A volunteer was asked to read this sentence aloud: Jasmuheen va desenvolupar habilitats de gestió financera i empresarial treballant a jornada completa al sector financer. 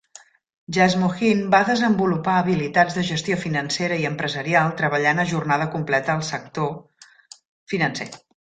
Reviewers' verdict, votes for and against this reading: accepted, 2, 0